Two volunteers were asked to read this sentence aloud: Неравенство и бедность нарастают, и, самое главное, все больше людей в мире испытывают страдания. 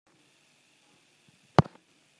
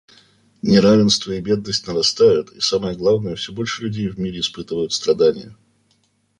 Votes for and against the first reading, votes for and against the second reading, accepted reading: 0, 2, 2, 0, second